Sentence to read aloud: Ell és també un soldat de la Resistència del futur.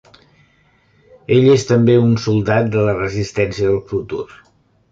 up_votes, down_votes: 3, 0